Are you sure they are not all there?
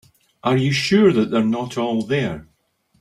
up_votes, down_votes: 1, 2